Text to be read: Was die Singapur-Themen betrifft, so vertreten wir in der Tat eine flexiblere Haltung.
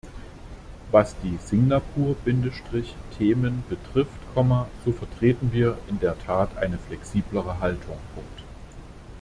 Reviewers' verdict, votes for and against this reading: rejected, 0, 2